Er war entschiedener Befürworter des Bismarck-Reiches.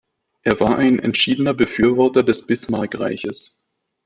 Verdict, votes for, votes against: rejected, 0, 2